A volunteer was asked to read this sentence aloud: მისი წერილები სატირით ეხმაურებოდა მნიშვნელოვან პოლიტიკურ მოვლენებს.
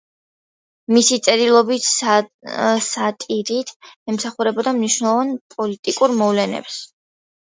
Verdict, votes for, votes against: accepted, 2, 1